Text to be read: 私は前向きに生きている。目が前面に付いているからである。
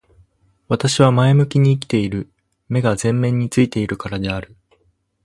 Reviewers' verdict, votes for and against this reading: accepted, 4, 0